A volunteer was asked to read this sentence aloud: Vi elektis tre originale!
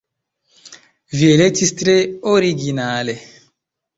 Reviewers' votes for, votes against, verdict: 2, 0, accepted